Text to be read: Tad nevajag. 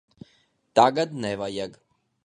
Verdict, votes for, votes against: rejected, 0, 2